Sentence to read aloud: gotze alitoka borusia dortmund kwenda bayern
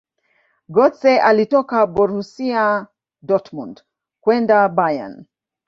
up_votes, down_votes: 1, 2